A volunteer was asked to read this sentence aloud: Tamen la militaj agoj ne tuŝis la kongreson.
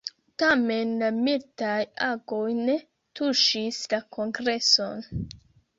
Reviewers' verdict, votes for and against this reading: rejected, 2, 3